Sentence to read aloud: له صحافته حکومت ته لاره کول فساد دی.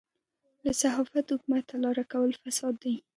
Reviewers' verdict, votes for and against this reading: accepted, 2, 1